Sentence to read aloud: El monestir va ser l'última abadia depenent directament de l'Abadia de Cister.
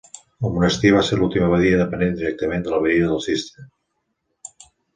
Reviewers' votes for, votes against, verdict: 2, 0, accepted